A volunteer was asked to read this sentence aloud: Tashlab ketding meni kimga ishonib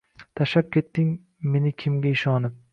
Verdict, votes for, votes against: rejected, 0, 2